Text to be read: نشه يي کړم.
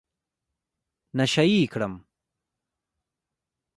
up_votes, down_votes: 2, 1